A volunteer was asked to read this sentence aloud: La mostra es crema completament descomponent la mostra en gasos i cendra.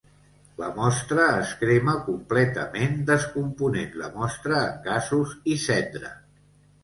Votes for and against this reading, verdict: 2, 1, accepted